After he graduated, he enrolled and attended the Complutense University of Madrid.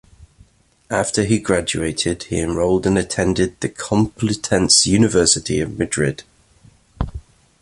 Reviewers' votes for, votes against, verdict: 2, 0, accepted